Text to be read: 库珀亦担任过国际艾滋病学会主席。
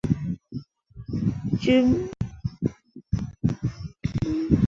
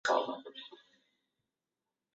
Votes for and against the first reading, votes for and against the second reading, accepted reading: 2, 0, 0, 8, first